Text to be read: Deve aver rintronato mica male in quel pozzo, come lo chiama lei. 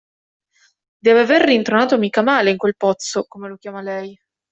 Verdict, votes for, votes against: accepted, 2, 0